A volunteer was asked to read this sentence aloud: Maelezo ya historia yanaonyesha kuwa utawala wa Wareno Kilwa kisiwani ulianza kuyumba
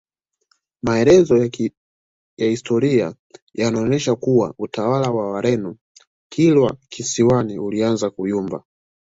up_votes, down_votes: 2, 0